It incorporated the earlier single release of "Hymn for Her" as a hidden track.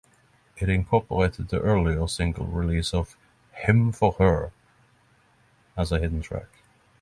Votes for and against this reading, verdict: 3, 0, accepted